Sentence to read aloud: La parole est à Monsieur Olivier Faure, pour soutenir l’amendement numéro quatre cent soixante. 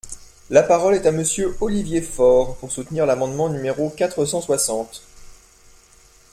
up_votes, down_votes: 2, 0